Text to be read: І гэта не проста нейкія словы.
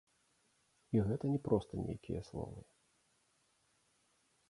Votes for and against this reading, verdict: 2, 0, accepted